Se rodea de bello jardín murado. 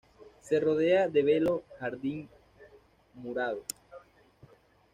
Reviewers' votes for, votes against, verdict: 1, 2, rejected